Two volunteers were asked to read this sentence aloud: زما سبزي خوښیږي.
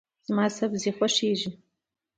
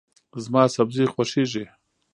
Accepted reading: first